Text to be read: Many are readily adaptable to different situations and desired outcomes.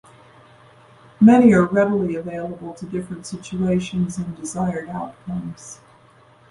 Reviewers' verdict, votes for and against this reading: rejected, 1, 2